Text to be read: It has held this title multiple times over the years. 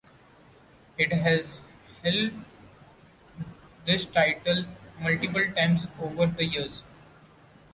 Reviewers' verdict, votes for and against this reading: accepted, 2, 1